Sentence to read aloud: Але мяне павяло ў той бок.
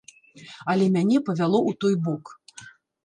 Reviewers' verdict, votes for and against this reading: rejected, 1, 2